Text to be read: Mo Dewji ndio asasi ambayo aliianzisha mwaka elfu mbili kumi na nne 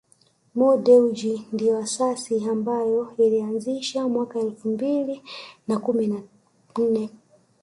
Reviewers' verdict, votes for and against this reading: rejected, 0, 2